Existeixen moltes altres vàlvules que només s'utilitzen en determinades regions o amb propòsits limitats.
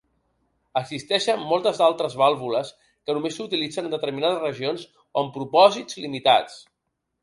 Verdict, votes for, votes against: accepted, 2, 0